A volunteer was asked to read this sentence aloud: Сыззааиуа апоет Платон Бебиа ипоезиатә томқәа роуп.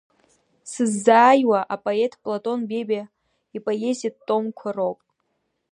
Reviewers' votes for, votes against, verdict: 2, 0, accepted